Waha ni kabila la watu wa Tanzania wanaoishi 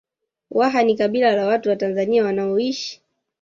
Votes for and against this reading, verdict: 1, 2, rejected